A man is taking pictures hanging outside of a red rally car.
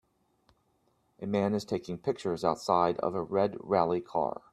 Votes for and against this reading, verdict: 0, 2, rejected